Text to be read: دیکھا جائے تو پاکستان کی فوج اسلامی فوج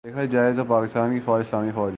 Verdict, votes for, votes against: rejected, 2, 2